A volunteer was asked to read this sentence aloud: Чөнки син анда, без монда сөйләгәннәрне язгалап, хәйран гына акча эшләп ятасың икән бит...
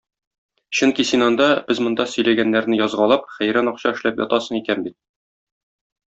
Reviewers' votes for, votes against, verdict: 1, 2, rejected